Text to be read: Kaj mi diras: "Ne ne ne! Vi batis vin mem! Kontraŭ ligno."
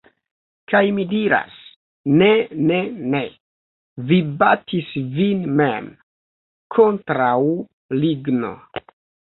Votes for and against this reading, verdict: 2, 0, accepted